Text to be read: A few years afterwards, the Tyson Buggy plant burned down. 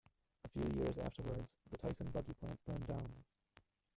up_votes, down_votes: 2, 3